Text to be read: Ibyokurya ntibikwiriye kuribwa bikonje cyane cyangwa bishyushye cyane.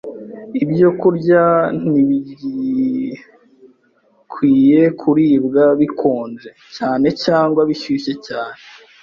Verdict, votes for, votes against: rejected, 0, 2